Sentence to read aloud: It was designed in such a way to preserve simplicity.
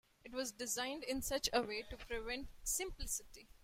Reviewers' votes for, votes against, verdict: 0, 2, rejected